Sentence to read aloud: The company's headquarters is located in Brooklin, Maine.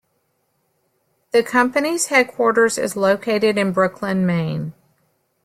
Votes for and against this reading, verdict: 2, 0, accepted